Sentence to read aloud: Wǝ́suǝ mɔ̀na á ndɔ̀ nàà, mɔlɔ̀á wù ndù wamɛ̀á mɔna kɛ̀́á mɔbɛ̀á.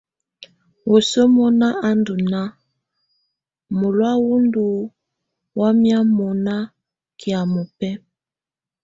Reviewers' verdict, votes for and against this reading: accepted, 2, 0